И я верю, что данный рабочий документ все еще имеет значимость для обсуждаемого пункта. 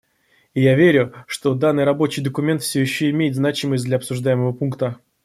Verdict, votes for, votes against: accepted, 2, 0